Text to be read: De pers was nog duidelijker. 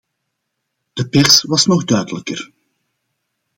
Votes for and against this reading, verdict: 2, 0, accepted